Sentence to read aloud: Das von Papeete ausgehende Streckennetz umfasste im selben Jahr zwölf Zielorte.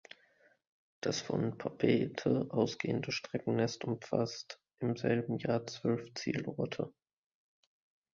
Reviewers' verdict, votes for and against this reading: rejected, 1, 2